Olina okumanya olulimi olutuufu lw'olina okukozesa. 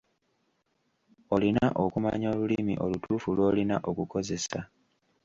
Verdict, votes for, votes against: accepted, 2, 0